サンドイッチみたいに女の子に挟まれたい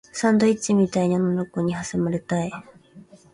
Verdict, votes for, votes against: accepted, 2, 0